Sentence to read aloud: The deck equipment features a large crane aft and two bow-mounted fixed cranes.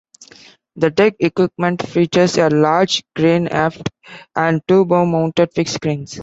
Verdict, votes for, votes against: accepted, 2, 0